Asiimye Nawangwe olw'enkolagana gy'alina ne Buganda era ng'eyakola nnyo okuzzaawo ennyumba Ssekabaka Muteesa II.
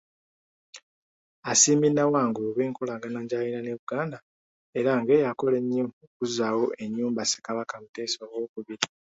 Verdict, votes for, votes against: rejected, 1, 2